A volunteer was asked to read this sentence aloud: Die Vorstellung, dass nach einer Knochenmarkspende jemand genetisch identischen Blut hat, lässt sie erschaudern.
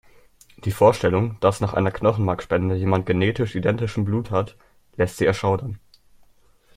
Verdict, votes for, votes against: accepted, 2, 0